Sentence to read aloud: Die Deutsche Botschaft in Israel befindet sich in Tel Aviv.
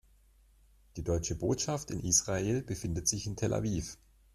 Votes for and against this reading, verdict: 2, 0, accepted